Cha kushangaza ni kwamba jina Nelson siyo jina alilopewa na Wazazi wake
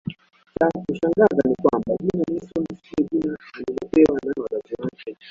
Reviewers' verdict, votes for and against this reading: rejected, 1, 2